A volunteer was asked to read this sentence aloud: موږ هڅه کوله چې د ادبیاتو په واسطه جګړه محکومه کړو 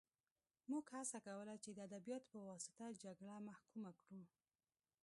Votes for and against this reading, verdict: 1, 2, rejected